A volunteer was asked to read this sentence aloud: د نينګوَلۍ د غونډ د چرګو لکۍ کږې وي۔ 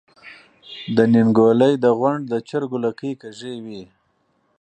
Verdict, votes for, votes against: accepted, 4, 0